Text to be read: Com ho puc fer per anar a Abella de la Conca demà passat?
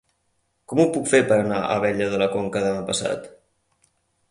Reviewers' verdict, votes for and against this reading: accepted, 4, 0